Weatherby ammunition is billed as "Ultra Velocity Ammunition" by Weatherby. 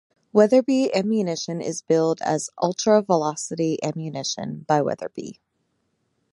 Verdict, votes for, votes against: accepted, 2, 0